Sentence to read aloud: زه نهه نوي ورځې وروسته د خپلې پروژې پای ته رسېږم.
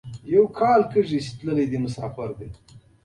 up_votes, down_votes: 1, 2